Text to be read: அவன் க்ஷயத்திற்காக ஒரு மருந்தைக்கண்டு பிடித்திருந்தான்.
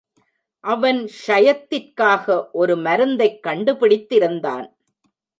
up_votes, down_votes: 0, 2